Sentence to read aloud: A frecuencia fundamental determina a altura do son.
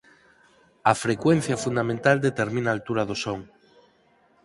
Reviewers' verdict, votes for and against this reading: accepted, 4, 0